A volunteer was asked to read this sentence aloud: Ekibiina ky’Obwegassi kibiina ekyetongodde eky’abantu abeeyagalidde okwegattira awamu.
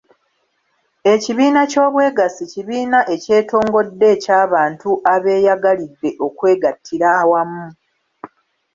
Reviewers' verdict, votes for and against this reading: accepted, 3, 0